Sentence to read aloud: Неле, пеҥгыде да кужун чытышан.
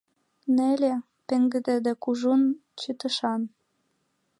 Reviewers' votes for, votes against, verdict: 3, 1, accepted